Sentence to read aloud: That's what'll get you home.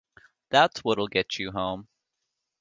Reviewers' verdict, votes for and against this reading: accepted, 2, 0